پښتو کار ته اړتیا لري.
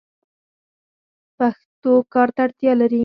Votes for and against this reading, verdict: 2, 4, rejected